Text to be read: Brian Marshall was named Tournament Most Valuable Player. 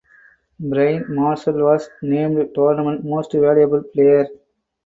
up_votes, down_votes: 4, 2